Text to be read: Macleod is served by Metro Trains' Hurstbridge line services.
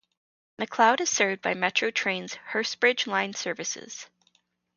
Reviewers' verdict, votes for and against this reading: accepted, 2, 0